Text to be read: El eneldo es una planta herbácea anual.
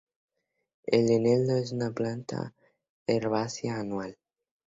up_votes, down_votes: 2, 0